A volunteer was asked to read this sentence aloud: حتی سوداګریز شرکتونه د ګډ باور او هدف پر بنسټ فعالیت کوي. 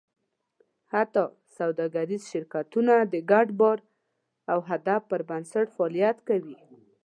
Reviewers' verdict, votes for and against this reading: rejected, 1, 2